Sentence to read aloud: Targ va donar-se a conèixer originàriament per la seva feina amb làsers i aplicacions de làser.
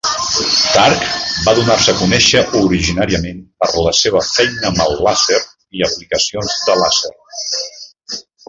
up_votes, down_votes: 0, 2